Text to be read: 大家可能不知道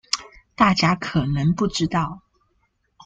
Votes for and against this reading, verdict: 2, 0, accepted